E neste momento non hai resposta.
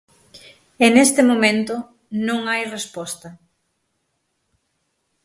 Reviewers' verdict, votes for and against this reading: accepted, 6, 0